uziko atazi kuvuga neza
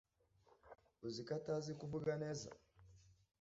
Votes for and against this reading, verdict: 2, 0, accepted